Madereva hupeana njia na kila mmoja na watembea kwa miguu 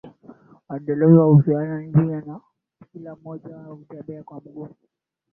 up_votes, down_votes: 2, 0